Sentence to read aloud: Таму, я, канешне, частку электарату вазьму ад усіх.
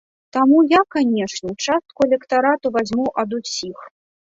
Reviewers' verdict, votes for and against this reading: rejected, 1, 2